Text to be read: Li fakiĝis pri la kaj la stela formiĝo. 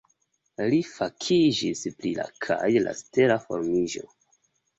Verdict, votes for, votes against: accepted, 2, 0